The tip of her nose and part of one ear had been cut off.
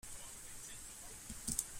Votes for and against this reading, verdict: 0, 2, rejected